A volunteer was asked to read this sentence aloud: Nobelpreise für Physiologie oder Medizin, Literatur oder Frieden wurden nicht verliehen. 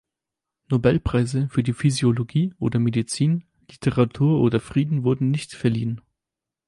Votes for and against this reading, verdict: 0, 4, rejected